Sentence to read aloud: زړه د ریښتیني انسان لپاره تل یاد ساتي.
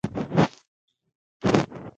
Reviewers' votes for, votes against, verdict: 0, 2, rejected